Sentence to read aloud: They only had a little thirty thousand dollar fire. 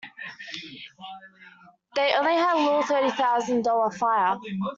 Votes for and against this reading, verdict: 2, 1, accepted